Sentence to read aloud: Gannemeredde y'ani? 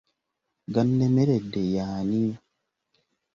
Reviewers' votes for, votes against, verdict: 2, 0, accepted